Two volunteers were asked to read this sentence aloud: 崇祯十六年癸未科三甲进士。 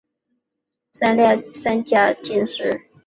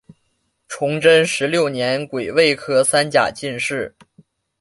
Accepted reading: second